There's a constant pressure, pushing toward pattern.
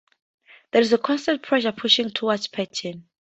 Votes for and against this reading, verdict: 4, 0, accepted